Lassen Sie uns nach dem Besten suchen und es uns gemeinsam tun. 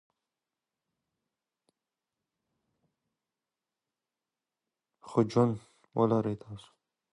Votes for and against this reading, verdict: 0, 2, rejected